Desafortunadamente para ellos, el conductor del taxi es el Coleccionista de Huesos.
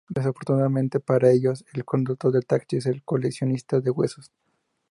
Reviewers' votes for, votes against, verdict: 2, 0, accepted